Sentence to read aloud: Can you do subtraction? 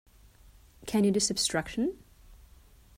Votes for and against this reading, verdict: 0, 2, rejected